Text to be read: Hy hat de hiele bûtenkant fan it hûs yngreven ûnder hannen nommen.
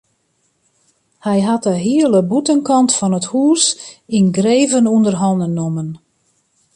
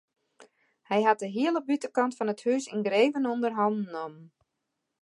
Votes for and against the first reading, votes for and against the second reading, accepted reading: 2, 0, 1, 2, first